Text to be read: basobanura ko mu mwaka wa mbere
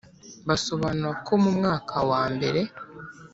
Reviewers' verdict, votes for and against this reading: accepted, 3, 0